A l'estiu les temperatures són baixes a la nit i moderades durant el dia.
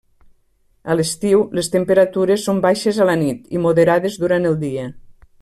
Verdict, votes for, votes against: accepted, 3, 0